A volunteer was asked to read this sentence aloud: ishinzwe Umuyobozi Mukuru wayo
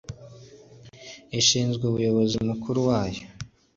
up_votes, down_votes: 2, 0